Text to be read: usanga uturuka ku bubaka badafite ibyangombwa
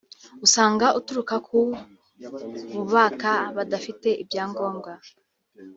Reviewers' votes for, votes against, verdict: 1, 2, rejected